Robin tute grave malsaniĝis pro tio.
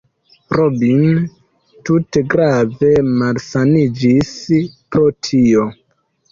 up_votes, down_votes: 0, 2